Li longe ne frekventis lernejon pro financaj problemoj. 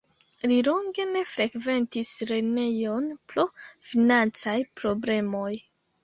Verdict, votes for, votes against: rejected, 0, 2